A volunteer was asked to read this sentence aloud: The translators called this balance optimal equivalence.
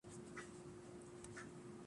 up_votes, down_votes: 0, 2